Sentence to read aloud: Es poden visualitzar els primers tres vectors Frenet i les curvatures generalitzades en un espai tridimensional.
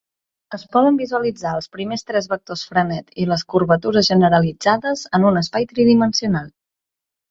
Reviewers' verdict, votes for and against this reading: accepted, 2, 0